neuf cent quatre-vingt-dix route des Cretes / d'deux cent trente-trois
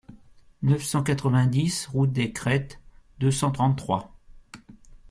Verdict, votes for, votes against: rejected, 1, 2